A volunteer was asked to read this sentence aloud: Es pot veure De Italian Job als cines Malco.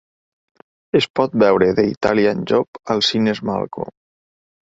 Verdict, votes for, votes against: accepted, 3, 0